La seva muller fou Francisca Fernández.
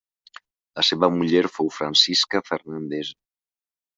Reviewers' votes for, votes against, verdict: 2, 0, accepted